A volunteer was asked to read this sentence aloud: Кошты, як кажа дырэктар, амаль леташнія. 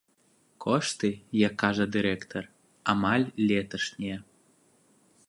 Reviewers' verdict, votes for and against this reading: accepted, 2, 0